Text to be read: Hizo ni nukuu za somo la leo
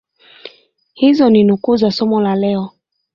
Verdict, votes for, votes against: accepted, 2, 1